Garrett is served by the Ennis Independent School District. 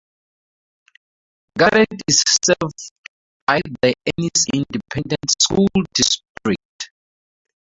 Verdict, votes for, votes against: rejected, 0, 2